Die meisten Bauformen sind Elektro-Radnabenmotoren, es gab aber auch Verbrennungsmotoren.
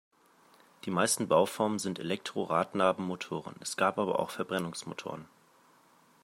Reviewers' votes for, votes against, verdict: 2, 0, accepted